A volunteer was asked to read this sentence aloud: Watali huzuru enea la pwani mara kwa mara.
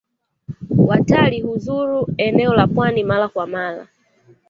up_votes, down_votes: 1, 2